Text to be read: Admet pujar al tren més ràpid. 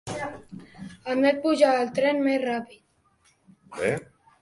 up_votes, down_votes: 1, 2